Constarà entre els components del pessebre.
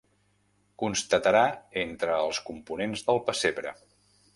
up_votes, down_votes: 0, 2